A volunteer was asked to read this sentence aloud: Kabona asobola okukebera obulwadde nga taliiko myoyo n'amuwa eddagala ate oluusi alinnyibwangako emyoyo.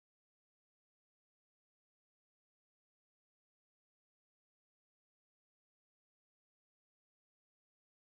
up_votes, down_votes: 0, 2